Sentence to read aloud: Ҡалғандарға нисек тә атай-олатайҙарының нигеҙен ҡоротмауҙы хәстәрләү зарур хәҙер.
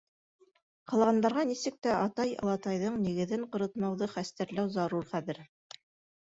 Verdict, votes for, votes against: rejected, 1, 2